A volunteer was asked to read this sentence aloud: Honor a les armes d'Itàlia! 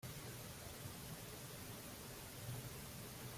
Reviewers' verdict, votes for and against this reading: rejected, 0, 2